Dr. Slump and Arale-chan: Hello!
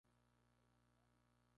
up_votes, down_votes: 0, 2